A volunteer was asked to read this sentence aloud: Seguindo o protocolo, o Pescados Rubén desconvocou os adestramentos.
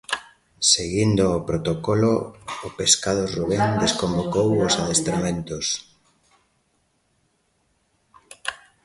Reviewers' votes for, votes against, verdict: 3, 1, accepted